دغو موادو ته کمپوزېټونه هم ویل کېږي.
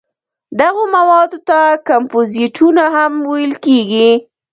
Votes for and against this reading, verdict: 0, 2, rejected